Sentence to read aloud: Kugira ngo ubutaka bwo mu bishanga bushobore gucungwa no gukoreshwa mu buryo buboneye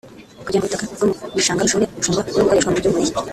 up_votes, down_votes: 0, 2